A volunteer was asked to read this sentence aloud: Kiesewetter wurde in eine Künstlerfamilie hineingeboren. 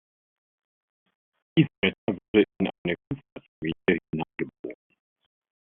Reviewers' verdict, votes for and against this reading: rejected, 0, 2